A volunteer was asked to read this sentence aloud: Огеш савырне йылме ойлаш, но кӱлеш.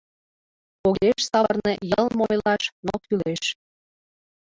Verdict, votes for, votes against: rejected, 1, 2